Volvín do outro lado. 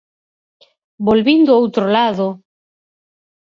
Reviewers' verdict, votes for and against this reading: accepted, 4, 0